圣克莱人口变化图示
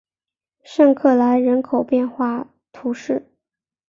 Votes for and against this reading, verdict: 3, 0, accepted